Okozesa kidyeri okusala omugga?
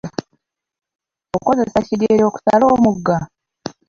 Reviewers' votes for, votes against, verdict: 0, 2, rejected